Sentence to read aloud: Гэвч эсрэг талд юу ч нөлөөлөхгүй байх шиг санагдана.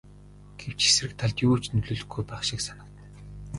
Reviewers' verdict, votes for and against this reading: rejected, 0, 2